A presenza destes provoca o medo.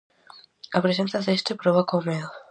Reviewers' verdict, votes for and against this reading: rejected, 2, 2